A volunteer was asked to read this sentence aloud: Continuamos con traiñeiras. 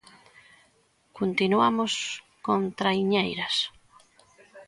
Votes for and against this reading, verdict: 2, 0, accepted